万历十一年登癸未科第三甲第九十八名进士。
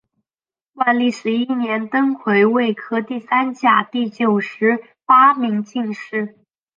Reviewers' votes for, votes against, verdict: 3, 0, accepted